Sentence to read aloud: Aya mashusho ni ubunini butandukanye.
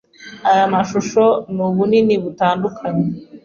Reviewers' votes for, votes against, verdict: 2, 1, accepted